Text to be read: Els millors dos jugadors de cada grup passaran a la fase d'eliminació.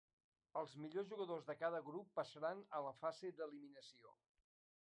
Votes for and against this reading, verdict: 1, 2, rejected